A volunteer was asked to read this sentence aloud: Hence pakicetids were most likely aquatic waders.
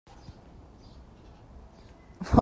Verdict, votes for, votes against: rejected, 0, 2